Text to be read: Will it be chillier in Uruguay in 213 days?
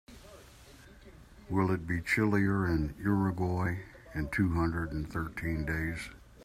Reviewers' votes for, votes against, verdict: 0, 2, rejected